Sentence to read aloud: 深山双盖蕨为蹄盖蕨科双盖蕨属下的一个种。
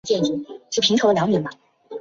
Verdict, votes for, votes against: rejected, 0, 2